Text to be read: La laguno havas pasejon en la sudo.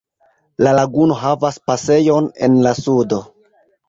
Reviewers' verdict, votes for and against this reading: accepted, 2, 1